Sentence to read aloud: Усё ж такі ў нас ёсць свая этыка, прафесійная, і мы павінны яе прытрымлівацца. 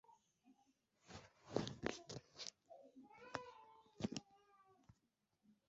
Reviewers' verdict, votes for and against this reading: rejected, 0, 2